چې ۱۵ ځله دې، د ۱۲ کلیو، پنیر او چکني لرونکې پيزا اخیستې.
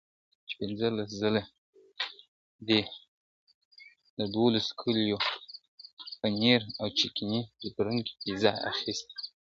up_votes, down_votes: 0, 2